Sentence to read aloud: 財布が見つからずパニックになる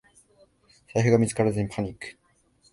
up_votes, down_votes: 1, 2